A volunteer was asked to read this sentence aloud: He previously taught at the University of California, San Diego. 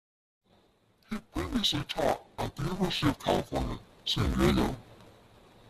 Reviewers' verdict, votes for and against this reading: rejected, 0, 2